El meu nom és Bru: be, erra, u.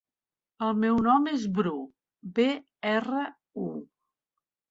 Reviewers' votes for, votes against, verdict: 3, 0, accepted